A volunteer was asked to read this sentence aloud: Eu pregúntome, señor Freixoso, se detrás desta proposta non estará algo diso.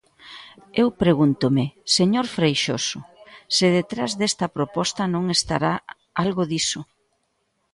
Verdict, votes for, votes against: accepted, 2, 0